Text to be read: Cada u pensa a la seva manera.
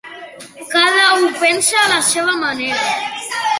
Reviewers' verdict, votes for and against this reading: accepted, 2, 0